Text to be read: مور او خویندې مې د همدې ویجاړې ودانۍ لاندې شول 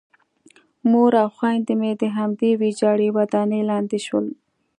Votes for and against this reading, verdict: 2, 0, accepted